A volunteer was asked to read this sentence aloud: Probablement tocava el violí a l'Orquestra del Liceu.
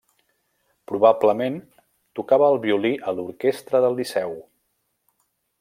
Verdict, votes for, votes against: accepted, 3, 0